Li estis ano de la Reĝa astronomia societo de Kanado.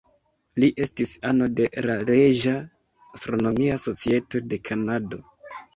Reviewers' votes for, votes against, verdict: 2, 0, accepted